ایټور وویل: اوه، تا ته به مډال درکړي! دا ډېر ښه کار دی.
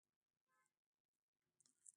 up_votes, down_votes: 0, 2